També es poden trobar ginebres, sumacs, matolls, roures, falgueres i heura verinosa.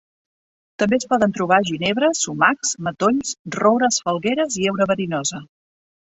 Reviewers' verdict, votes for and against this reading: accepted, 2, 0